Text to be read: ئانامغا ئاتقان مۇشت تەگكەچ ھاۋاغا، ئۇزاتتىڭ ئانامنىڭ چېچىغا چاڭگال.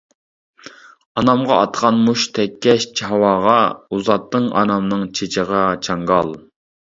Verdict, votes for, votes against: rejected, 1, 2